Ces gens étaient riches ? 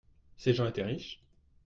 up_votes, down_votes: 1, 2